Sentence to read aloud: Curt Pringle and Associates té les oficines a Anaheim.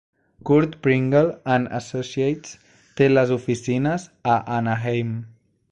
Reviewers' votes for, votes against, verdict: 2, 0, accepted